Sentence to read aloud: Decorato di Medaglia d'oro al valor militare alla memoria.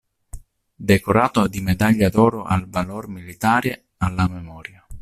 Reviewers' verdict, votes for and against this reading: accepted, 2, 0